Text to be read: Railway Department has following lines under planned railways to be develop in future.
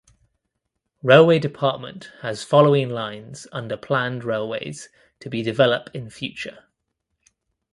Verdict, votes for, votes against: accepted, 2, 0